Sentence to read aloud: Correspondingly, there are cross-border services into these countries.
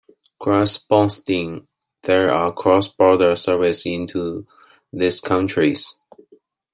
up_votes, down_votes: 0, 2